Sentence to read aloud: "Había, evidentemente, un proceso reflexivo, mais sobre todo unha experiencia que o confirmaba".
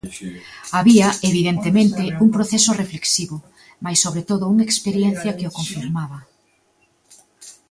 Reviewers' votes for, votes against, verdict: 1, 2, rejected